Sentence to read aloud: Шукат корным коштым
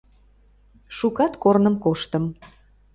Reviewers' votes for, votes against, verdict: 2, 0, accepted